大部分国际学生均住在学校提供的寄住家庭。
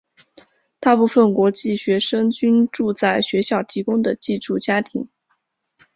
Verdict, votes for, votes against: accepted, 6, 0